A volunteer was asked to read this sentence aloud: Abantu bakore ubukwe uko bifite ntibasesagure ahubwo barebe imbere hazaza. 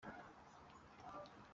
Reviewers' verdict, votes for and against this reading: rejected, 0, 2